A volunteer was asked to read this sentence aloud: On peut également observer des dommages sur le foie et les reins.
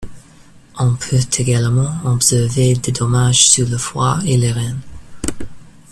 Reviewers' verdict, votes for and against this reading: accepted, 2, 0